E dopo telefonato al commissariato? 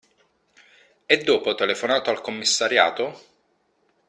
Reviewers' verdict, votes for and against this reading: accepted, 3, 1